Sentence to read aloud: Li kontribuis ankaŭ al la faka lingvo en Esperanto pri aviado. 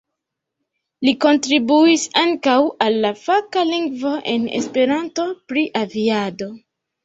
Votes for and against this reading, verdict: 2, 0, accepted